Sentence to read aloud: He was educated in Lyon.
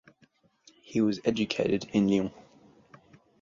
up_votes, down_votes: 4, 0